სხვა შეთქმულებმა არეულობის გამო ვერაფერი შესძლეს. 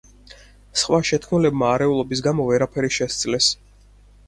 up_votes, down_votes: 4, 0